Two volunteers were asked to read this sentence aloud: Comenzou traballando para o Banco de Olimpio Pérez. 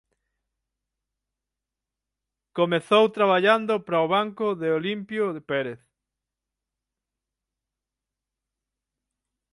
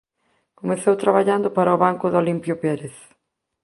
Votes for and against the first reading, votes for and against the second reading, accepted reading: 3, 6, 2, 0, second